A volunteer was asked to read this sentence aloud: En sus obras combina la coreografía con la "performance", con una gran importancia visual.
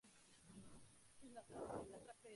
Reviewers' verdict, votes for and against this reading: rejected, 0, 2